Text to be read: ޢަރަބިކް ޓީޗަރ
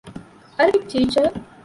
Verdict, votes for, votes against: rejected, 0, 2